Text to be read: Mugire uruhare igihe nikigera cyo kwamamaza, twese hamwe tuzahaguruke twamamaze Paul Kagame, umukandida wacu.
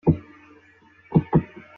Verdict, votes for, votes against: rejected, 0, 2